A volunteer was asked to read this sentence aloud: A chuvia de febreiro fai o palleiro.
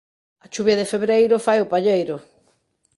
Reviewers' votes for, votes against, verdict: 2, 0, accepted